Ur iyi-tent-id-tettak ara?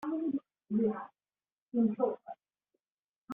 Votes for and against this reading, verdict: 0, 2, rejected